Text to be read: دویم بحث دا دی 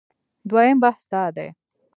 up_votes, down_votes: 2, 0